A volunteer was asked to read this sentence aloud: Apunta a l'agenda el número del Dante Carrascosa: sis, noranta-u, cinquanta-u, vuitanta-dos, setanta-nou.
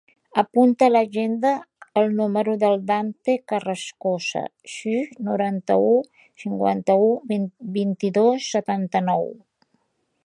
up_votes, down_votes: 0, 2